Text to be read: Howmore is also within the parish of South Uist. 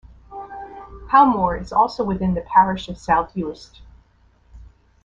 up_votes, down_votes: 2, 0